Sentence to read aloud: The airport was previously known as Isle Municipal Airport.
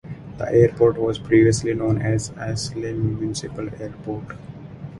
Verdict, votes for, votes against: rejected, 0, 4